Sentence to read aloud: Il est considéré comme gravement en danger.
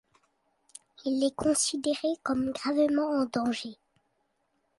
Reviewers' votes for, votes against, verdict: 2, 1, accepted